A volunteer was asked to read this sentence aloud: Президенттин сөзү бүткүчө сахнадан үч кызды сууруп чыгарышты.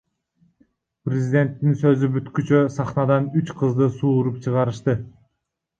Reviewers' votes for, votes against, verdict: 2, 1, accepted